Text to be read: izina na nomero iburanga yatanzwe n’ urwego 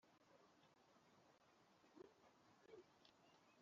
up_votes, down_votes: 0, 2